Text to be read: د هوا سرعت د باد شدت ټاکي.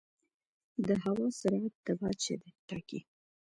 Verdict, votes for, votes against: accepted, 2, 0